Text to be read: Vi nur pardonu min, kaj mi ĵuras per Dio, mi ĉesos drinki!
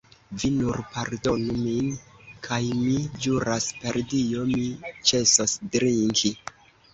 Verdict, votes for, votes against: rejected, 1, 2